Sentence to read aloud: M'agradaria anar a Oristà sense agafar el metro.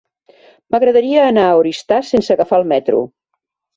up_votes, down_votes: 4, 0